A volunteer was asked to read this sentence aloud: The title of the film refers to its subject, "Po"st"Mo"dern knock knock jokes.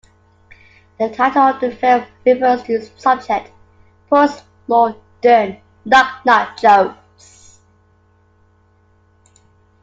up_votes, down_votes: 0, 2